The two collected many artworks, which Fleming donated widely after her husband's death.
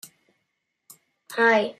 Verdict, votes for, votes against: rejected, 0, 2